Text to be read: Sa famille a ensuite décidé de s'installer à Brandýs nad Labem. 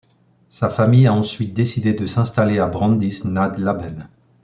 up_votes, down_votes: 2, 0